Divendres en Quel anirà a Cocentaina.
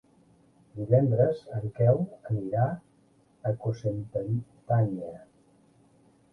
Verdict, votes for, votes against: rejected, 1, 2